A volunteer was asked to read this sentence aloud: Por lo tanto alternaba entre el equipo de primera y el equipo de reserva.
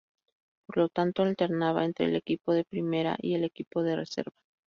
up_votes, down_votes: 2, 0